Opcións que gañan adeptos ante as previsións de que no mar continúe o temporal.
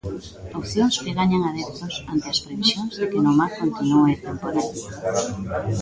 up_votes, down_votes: 0, 2